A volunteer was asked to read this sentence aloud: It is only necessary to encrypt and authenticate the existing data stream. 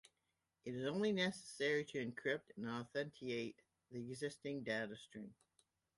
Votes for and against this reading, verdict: 2, 0, accepted